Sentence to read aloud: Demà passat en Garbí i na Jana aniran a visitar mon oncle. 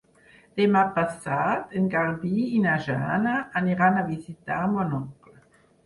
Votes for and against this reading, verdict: 6, 0, accepted